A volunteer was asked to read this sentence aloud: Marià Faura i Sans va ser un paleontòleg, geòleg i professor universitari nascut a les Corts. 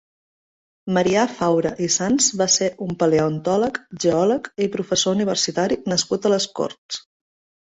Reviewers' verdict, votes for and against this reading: accepted, 3, 0